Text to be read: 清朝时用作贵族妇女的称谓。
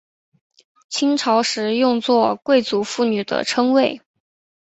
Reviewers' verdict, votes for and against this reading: accepted, 2, 0